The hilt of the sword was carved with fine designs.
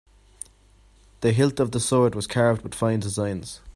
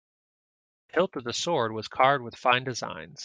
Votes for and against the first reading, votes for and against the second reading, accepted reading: 2, 0, 0, 2, first